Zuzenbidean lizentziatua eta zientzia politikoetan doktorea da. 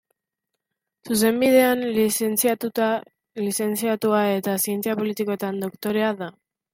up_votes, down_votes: 1, 2